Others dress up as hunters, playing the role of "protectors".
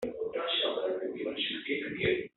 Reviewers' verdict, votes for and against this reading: rejected, 0, 3